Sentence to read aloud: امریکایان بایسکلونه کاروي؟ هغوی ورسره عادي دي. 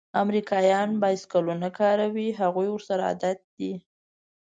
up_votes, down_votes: 0, 2